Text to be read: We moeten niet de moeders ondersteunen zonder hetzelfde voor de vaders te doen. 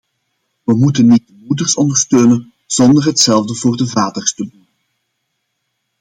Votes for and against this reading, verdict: 0, 2, rejected